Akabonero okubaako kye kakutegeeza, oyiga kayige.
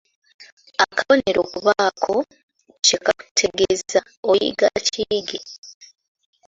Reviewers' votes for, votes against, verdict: 0, 2, rejected